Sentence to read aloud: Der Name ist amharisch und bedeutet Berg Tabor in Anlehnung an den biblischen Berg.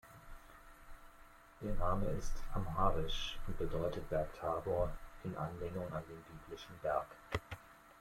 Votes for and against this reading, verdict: 0, 2, rejected